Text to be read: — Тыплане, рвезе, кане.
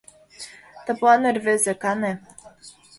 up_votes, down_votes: 2, 0